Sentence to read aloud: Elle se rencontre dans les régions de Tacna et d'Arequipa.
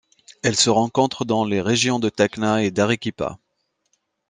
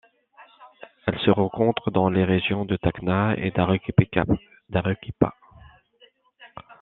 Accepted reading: first